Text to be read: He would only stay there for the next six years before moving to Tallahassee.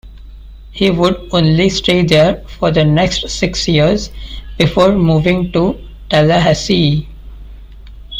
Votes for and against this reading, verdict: 2, 0, accepted